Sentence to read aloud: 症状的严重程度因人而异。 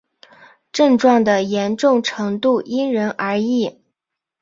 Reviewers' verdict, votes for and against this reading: accepted, 2, 1